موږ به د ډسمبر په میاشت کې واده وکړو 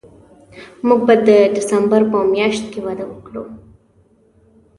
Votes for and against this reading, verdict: 2, 0, accepted